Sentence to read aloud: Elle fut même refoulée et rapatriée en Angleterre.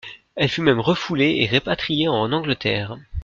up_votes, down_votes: 1, 2